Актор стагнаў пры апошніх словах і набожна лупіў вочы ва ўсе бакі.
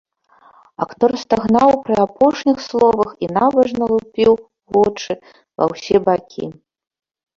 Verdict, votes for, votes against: rejected, 0, 2